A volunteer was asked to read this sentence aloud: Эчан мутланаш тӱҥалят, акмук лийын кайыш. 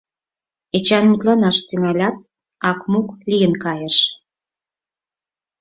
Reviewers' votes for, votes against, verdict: 4, 0, accepted